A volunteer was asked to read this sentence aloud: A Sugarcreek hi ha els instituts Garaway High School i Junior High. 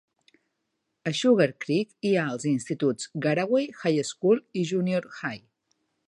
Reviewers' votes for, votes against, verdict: 2, 0, accepted